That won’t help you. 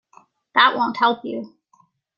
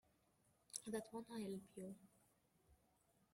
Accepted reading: first